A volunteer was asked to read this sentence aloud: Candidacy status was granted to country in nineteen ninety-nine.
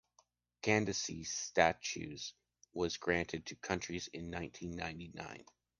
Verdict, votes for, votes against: rejected, 0, 2